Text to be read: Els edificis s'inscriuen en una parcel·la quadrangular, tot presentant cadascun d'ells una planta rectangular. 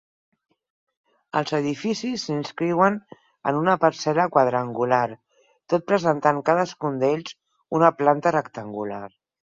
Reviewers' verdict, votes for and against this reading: accepted, 6, 2